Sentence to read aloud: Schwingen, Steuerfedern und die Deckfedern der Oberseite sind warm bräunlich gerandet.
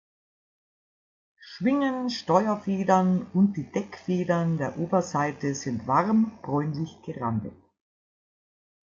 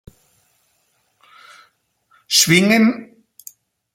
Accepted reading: first